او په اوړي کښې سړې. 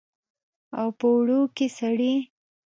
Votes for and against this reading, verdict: 0, 2, rejected